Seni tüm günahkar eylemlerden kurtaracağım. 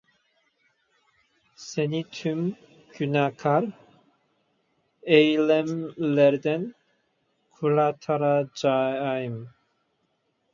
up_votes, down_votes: 0, 2